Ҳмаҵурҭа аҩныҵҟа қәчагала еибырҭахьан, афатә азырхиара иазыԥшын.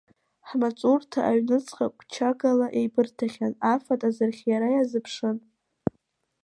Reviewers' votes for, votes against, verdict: 2, 0, accepted